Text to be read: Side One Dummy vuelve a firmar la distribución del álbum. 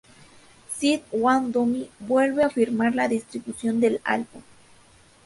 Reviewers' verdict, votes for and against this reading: rejected, 0, 2